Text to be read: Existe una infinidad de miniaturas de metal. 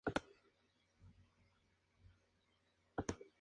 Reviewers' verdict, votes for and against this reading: rejected, 0, 2